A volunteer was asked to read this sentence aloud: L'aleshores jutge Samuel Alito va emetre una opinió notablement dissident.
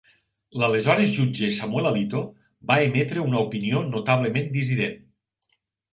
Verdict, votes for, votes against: accepted, 3, 0